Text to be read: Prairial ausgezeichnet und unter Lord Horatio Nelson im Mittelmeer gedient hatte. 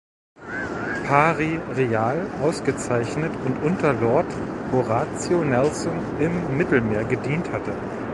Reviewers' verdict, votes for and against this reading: rejected, 1, 2